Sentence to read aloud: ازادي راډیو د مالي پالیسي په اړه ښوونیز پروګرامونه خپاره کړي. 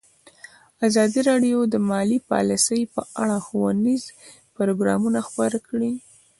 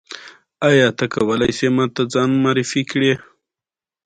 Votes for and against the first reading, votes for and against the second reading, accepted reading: 2, 0, 1, 2, first